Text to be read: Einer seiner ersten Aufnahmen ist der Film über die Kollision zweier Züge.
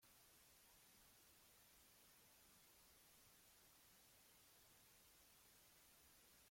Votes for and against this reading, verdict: 0, 2, rejected